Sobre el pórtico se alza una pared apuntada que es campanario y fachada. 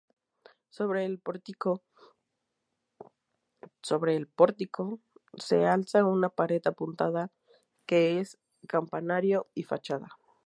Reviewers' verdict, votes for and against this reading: rejected, 2, 2